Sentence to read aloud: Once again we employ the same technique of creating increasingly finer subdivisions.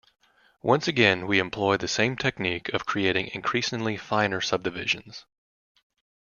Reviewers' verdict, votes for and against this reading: accepted, 2, 0